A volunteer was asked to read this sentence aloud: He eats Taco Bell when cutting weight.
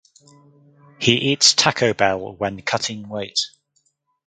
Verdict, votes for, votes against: accepted, 4, 0